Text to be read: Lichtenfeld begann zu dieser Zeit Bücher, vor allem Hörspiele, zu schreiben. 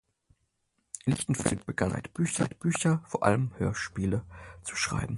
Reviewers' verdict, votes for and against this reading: rejected, 0, 4